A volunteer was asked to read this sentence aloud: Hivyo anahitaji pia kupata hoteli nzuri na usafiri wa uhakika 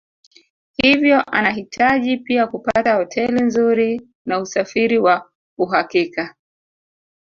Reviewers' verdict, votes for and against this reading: rejected, 2, 3